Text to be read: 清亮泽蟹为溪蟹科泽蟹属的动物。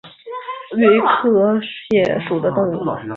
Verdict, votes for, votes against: accepted, 2, 0